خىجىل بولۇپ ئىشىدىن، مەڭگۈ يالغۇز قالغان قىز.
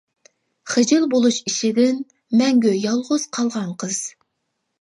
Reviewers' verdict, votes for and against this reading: rejected, 1, 2